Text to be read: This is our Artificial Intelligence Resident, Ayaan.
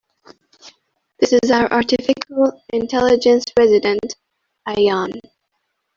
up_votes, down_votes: 1, 2